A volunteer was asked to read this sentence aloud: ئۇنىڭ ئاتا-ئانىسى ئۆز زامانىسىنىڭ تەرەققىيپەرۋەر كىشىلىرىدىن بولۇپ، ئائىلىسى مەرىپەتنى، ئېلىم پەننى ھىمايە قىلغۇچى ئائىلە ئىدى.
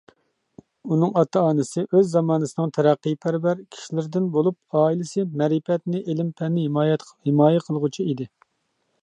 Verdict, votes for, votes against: rejected, 0, 2